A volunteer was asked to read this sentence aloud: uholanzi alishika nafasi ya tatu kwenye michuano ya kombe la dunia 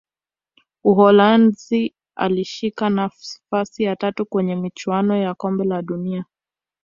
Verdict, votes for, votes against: accepted, 2, 1